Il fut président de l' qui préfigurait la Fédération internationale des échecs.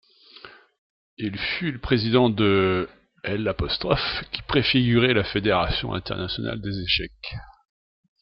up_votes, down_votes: 0, 2